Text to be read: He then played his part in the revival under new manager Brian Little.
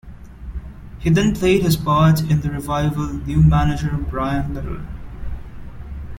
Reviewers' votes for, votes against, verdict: 1, 2, rejected